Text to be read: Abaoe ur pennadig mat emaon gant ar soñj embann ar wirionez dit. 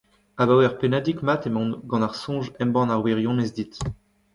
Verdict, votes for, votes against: rejected, 1, 2